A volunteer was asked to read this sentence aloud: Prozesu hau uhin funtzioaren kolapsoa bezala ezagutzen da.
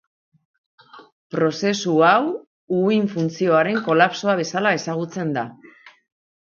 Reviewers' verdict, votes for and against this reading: accepted, 2, 0